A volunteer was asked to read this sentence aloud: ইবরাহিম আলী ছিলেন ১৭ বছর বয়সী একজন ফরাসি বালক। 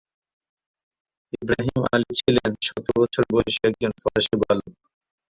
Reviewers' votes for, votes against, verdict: 0, 2, rejected